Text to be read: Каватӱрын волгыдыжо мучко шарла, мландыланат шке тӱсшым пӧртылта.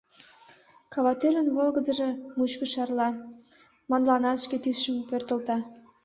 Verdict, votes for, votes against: accepted, 2, 1